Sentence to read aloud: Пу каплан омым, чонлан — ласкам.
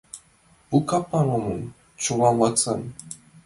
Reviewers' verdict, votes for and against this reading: rejected, 0, 2